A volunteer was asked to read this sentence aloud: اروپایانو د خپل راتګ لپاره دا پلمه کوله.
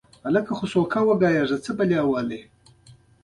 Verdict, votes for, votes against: rejected, 1, 2